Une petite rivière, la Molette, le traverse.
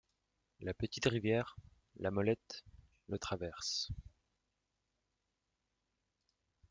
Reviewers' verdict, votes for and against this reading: rejected, 1, 2